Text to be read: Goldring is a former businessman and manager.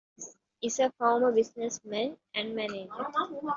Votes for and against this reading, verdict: 1, 2, rejected